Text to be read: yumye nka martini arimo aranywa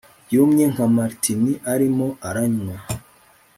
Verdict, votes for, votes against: rejected, 0, 2